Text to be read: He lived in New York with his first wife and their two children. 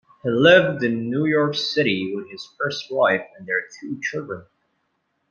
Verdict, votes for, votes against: rejected, 0, 2